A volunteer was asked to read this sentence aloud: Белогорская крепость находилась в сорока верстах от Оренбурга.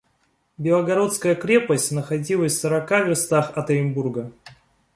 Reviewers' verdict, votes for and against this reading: accepted, 3, 2